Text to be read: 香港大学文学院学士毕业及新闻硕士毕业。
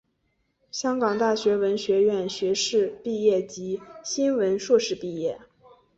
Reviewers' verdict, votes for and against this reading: accepted, 2, 0